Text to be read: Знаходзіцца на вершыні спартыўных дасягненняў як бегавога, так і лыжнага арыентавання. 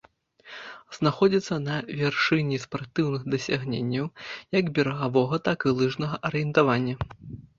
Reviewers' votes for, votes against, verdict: 0, 2, rejected